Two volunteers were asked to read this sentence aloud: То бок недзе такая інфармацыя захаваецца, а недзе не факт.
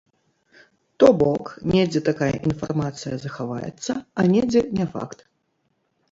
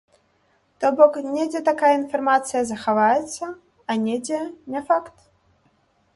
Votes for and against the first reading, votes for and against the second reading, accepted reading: 0, 2, 2, 0, second